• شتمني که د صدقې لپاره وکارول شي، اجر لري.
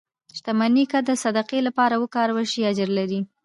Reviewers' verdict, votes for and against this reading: accepted, 2, 0